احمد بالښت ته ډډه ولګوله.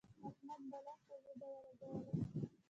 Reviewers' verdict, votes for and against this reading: rejected, 0, 2